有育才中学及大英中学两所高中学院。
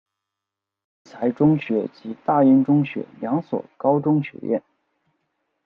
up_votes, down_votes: 0, 2